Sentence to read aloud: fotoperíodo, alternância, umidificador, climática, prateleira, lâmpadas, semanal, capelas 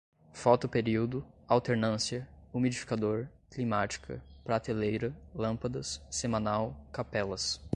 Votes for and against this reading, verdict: 2, 0, accepted